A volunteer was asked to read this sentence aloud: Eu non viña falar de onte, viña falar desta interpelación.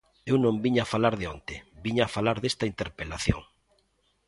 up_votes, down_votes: 2, 0